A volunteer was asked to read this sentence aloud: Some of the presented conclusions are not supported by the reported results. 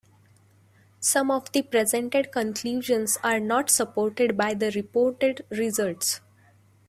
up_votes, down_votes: 2, 0